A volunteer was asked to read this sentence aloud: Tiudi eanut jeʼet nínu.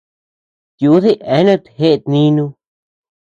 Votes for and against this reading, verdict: 2, 0, accepted